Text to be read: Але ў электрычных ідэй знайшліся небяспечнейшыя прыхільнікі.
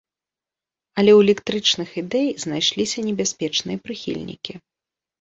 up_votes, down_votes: 0, 2